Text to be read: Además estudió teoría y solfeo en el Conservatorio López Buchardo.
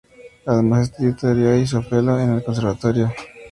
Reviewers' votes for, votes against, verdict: 2, 0, accepted